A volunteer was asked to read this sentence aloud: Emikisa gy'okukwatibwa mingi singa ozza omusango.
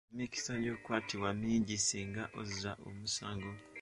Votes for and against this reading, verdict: 1, 2, rejected